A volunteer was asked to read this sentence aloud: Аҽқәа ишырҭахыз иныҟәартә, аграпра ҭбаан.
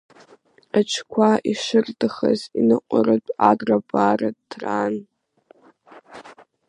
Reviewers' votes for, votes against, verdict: 0, 2, rejected